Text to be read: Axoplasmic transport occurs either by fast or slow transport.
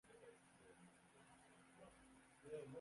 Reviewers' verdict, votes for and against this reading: rejected, 0, 3